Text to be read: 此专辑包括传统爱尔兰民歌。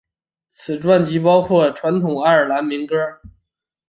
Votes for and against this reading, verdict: 2, 0, accepted